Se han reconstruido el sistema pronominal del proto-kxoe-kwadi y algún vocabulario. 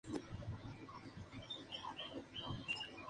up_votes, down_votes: 0, 2